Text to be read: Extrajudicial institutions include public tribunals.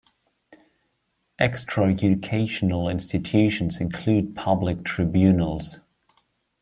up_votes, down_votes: 0, 2